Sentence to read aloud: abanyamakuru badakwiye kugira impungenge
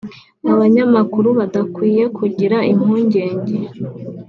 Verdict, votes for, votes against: accepted, 2, 0